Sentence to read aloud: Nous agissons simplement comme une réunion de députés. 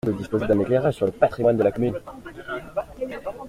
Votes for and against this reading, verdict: 0, 2, rejected